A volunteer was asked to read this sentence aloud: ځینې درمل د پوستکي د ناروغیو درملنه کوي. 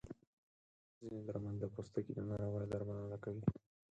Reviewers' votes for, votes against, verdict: 2, 4, rejected